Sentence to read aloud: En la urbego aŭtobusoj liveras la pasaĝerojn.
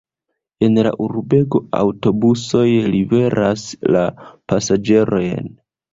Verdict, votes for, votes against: rejected, 1, 2